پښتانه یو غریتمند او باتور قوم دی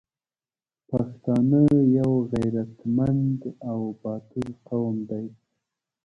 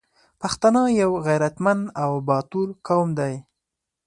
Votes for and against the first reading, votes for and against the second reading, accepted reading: 1, 3, 4, 0, second